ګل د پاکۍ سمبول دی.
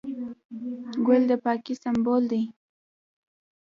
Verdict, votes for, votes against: rejected, 0, 2